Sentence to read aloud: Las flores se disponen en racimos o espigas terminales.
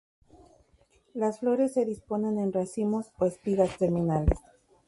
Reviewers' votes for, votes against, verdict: 2, 0, accepted